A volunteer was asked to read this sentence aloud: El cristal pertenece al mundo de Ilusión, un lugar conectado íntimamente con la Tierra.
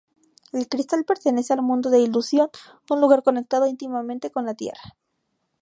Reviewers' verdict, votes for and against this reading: accepted, 8, 0